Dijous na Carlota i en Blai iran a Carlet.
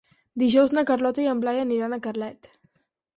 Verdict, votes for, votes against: rejected, 2, 4